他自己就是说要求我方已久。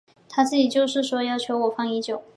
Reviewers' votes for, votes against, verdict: 5, 0, accepted